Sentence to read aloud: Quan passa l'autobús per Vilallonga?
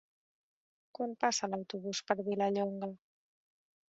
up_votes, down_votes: 3, 1